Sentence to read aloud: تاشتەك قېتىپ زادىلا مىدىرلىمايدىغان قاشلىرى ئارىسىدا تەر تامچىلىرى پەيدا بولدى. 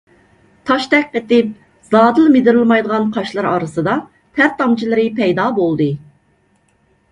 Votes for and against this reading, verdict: 2, 0, accepted